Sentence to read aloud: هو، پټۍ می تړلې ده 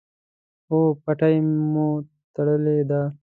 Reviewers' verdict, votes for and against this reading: rejected, 1, 2